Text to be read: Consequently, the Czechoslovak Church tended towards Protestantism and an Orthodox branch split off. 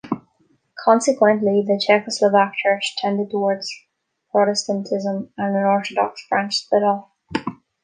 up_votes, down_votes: 1, 2